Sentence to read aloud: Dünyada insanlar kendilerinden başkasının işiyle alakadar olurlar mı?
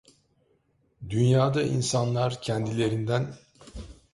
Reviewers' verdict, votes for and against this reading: rejected, 0, 2